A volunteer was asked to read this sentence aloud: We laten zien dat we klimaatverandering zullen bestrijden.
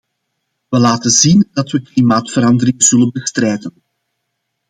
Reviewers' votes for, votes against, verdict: 2, 0, accepted